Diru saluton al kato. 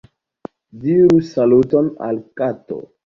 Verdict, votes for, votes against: accepted, 2, 0